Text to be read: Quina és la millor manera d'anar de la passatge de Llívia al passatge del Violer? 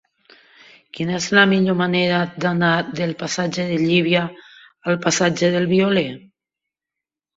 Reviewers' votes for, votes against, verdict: 0, 3, rejected